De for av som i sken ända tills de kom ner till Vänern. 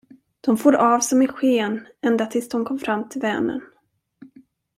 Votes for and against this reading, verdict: 0, 2, rejected